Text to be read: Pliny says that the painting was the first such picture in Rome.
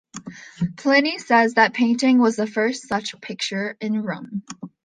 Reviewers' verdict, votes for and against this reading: accepted, 2, 0